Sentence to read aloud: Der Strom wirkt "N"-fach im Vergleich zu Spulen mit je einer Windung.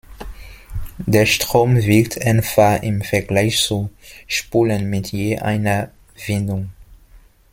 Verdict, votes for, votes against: rejected, 1, 2